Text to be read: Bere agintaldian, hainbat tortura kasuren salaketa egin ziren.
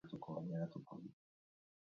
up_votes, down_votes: 2, 0